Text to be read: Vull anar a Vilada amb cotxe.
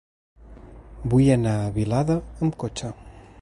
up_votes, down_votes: 2, 0